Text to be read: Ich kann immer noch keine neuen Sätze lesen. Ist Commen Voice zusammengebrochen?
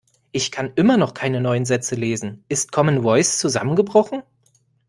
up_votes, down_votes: 2, 1